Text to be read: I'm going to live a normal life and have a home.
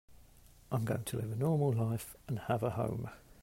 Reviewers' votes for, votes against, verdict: 2, 0, accepted